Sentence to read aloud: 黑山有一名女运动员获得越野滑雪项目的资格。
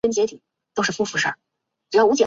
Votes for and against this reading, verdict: 0, 3, rejected